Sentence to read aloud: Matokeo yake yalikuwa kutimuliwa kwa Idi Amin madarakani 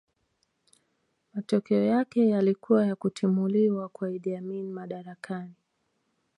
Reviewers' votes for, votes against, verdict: 1, 2, rejected